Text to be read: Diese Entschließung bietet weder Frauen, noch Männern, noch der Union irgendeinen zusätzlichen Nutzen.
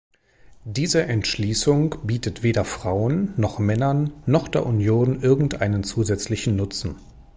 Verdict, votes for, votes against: accepted, 2, 0